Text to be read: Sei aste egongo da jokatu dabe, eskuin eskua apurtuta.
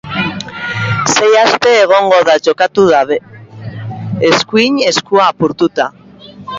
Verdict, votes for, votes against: rejected, 0, 2